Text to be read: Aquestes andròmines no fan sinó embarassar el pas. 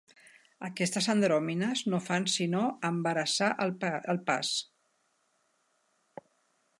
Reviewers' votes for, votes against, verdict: 0, 3, rejected